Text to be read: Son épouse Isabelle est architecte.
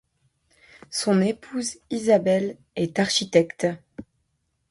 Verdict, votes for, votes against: accepted, 4, 0